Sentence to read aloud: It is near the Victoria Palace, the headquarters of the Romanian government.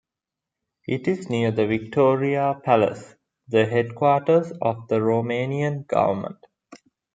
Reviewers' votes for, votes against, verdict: 2, 1, accepted